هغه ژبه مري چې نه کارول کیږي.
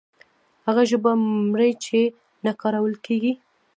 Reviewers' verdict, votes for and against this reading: rejected, 1, 2